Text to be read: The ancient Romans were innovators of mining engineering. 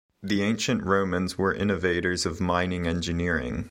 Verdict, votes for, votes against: accepted, 2, 0